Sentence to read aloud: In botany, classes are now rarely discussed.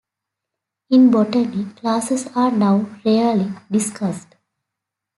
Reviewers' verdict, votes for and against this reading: accepted, 2, 0